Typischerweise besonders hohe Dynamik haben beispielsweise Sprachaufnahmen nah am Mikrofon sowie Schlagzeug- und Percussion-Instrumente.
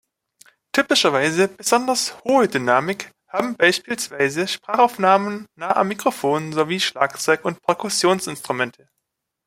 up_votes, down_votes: 1, 3